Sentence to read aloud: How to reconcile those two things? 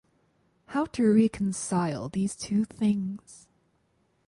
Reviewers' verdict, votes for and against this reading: rejected, 0, 4